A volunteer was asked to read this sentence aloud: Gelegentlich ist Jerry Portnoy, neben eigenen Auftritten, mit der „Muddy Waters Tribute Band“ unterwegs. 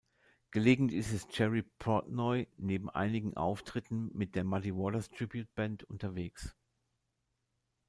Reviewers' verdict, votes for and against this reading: rejected, 1, 2